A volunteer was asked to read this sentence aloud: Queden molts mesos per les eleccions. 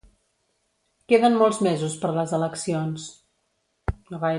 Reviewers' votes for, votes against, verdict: 1, 2, rejected